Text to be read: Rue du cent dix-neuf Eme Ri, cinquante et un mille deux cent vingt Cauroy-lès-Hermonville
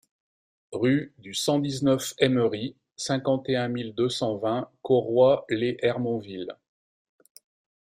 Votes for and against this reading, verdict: 2, 0, accepted